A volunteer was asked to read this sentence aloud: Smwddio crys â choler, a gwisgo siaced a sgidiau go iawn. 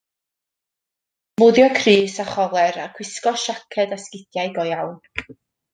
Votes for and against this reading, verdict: 1, 2, rejected